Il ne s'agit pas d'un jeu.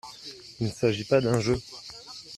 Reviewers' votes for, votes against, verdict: 1, 2, rejected